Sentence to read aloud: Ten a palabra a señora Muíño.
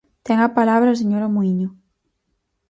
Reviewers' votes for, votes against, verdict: 4, 0, accepted